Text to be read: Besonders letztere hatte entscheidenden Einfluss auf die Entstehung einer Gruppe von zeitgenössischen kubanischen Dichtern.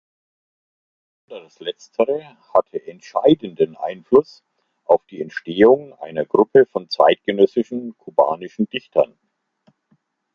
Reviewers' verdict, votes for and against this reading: rejected, 0, 2